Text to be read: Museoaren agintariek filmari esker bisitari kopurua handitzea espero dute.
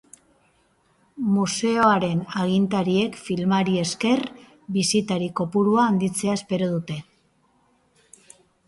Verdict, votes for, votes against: accepted, 4, 0